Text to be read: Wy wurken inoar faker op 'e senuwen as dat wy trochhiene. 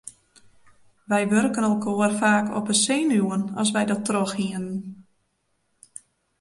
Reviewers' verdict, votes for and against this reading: rejected, 0, 3